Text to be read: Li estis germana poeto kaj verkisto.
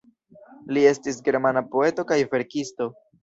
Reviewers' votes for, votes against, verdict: 1, 2, rejected